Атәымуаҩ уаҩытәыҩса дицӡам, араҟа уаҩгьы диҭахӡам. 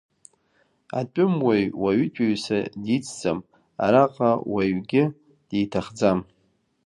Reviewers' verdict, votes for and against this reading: rejected, 0, 2